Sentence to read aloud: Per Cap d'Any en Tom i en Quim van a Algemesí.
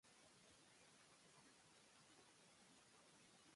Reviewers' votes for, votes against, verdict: 0, 2, rejected